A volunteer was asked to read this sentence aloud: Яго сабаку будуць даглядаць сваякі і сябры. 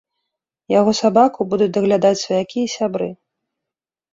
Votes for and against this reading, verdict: 3, 0, accepted